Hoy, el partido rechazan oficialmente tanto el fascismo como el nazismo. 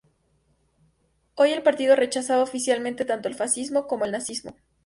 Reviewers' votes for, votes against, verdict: 0, 2, rejected